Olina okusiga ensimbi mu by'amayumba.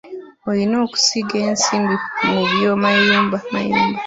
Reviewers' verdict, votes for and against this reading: rejected, 1, 2